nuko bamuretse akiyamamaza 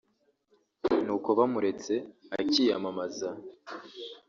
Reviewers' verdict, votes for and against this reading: accepted, 2, 0